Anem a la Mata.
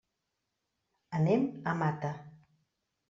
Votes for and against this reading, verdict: 1, 2, rejected